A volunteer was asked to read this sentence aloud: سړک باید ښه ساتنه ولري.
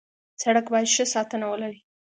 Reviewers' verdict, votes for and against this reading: accepted, 2, 0